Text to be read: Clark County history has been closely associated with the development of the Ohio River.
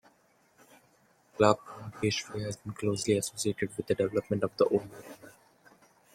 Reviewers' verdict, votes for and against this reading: rejected, 0, 2